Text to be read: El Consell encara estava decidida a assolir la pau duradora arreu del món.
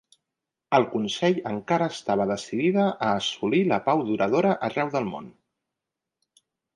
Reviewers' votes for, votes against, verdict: 2, 0, accepted